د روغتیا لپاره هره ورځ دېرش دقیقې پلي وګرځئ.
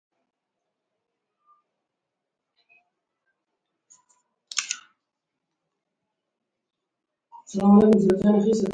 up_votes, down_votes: 2, 1